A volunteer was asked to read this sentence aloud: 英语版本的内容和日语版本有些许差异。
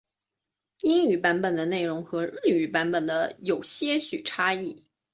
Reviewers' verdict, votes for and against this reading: accepted, 2, 0